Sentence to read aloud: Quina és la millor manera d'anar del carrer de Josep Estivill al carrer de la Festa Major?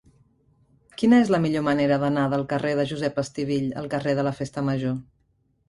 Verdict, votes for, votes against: accepted, 3, 0